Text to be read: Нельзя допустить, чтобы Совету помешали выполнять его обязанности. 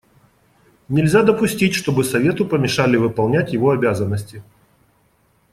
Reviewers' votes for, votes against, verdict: 2, 0, accepted